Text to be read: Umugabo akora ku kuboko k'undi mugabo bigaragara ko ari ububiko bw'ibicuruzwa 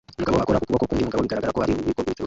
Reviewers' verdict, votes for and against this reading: rejected, 0, 2